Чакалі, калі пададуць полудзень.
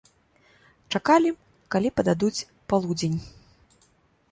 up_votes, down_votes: 2, 0